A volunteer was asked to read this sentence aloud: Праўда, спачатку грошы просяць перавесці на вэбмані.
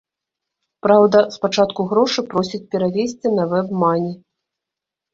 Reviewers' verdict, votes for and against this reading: accepted, 2, 0